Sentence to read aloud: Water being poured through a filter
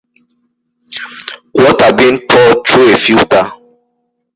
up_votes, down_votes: 2, 0